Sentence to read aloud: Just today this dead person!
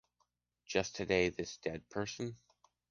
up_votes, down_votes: 2, 0